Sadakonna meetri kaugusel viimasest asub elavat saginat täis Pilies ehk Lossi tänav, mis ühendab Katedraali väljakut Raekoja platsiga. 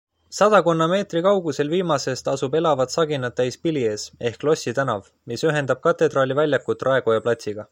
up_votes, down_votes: 2, 0